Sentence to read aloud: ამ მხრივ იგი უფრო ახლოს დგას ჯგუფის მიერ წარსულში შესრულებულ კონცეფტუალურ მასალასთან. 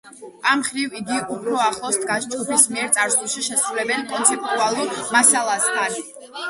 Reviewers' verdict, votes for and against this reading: rejected, 0, 2